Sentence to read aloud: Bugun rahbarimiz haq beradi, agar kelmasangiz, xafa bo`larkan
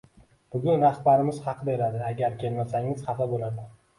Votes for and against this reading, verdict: 2, 1, accepted